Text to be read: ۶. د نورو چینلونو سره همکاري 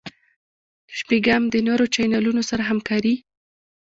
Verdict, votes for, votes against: rejected, 0, 2